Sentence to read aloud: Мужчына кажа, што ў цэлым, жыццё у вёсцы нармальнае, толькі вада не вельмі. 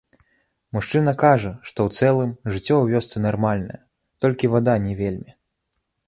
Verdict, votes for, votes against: accepted, 2, 0